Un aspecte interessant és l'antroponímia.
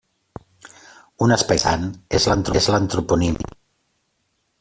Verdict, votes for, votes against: rejected, 0, 2